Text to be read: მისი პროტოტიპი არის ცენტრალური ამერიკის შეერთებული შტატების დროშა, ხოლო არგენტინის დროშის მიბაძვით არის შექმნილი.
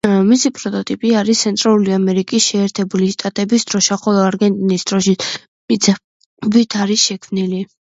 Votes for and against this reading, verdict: 1, 2, rejected